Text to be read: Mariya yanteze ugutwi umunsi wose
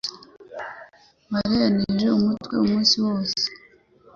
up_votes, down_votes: 1, 2